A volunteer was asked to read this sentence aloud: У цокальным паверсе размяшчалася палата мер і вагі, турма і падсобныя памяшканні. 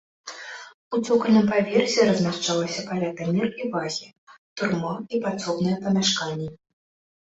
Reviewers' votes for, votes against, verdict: 2, 0, accepted